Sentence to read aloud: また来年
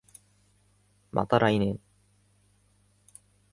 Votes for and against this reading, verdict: 2, 0, accepted